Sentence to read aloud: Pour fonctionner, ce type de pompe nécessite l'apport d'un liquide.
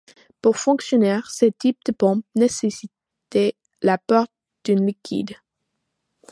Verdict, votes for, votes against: rejected, 1, 2